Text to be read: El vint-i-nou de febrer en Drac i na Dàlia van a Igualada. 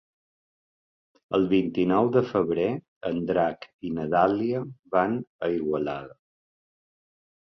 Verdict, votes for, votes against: accepted, 2, 0